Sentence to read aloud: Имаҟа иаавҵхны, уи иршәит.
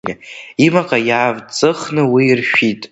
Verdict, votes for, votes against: rejected, 1, 2